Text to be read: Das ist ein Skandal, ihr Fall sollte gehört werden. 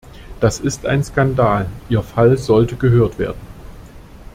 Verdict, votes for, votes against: accepted, 2, 0